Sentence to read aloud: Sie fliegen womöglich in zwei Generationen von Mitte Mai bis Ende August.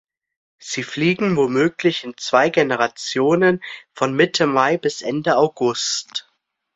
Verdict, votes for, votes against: accepted, 3, 0